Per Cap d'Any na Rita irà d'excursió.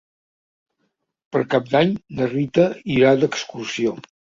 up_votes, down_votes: 3, 0